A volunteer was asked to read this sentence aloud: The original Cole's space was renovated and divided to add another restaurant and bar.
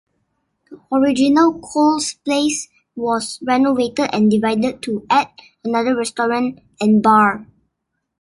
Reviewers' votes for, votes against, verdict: 0, 2, rejected